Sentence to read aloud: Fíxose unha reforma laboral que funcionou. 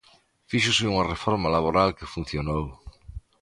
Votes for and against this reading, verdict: 2, 0, accepted